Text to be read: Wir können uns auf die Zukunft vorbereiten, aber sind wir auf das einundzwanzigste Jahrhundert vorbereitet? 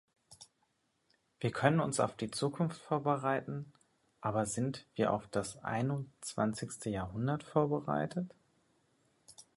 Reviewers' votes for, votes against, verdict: 2, 1, accepted